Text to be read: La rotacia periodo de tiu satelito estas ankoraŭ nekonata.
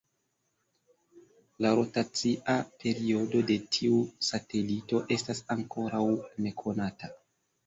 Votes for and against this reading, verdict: 2, 0, accepted